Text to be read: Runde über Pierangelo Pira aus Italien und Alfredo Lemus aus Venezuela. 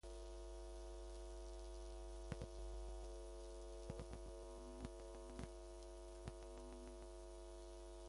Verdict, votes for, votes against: rejected, 1, 2